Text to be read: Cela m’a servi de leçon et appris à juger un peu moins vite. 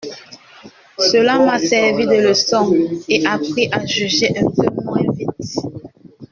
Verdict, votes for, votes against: accepted, 2, 1